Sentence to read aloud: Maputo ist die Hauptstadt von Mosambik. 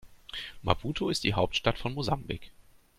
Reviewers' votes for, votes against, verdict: 2, 1, accepted